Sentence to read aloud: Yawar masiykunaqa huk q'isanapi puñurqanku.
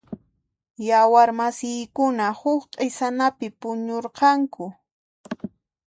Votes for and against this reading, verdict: 1, 2, rejected